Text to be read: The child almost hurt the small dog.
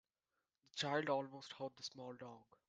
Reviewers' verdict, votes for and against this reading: rejected, 1, 2